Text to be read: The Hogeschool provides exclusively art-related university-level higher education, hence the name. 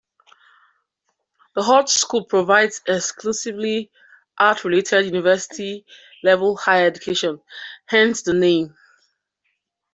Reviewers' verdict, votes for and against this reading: accepted, 2, 0